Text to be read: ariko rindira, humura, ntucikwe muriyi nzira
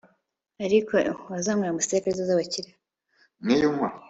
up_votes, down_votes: 0, 2